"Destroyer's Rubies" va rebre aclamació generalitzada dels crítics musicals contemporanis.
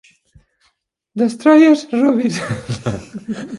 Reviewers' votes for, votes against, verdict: 1, 2, rejected